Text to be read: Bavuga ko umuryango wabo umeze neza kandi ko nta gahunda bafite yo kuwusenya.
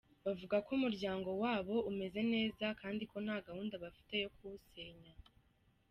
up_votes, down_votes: 2, 0